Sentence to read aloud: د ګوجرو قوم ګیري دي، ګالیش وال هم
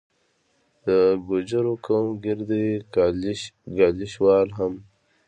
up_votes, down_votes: 2, 1